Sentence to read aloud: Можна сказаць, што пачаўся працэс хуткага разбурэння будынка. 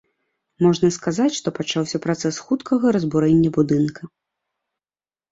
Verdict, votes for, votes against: accepted, 2, 0